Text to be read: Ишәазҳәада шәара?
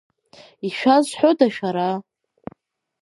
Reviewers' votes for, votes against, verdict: 0, 2, rejected